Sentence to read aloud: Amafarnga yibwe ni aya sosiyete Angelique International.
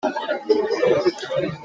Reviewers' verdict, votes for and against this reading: rejected, 0, 2